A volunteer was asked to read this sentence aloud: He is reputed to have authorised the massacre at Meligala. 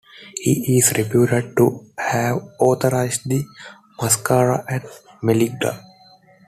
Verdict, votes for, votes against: accepted, 2, 1